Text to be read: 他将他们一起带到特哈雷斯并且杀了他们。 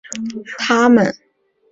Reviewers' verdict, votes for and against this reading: rejected, 0, 2